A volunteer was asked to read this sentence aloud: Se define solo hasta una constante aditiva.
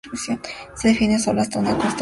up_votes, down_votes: 0, 2